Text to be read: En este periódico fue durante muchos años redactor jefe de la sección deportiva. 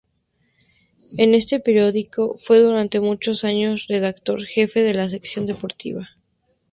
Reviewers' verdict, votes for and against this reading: accepted, 2, 0